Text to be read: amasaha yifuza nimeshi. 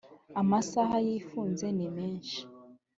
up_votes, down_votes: 0, 2